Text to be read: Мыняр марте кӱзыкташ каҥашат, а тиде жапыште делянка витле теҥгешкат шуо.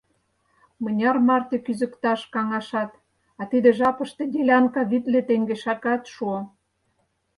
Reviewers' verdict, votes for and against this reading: rejected, 0, 4